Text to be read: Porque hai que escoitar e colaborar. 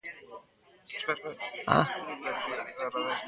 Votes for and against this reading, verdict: 0, 2, rejected